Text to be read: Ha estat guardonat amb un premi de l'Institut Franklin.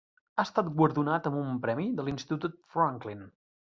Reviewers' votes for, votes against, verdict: 4, 0, accepted